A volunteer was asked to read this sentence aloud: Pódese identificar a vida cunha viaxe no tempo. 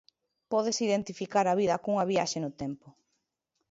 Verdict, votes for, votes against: accepted, 3, 0